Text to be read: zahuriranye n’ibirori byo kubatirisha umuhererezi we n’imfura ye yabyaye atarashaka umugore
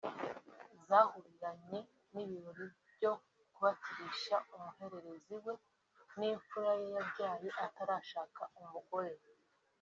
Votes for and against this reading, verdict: 1, 2, rejected